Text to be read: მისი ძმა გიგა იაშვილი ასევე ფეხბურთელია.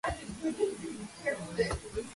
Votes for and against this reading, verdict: 0, 2, rejected